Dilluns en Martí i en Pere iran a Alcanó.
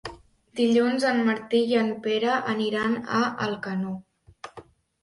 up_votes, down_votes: 2, 0